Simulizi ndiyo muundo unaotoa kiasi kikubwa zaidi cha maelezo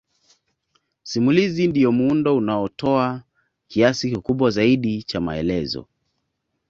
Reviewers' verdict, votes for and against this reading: accepted, 2, 0